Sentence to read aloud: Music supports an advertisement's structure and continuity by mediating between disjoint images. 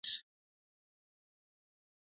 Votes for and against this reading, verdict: 0, 2, rejected